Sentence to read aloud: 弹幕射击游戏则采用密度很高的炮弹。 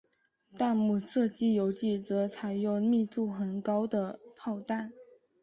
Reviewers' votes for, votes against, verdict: 1, 2, rejected